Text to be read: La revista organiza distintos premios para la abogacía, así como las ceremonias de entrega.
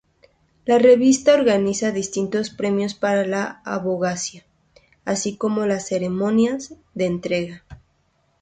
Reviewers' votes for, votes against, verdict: 2, 0, accepted